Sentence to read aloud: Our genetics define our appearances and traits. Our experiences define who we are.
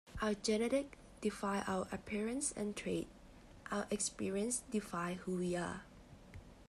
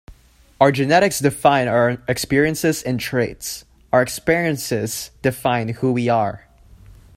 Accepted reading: first